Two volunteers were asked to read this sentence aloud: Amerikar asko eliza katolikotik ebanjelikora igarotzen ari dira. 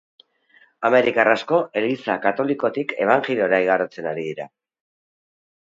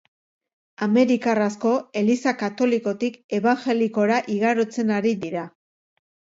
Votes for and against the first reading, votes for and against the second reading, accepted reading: 1, 3, 2, 0, second